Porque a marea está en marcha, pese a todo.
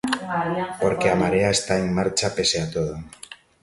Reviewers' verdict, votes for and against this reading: rejected, 0, 2